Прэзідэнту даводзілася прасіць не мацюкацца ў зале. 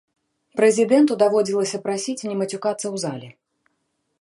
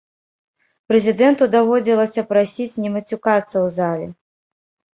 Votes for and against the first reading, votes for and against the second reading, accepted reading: 2, 0, 1, 2, first